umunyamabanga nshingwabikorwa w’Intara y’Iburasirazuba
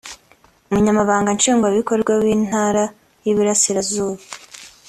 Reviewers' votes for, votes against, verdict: 0, 2, rejected